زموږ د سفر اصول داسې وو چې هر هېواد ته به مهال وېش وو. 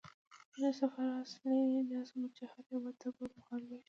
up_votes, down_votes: 1, 2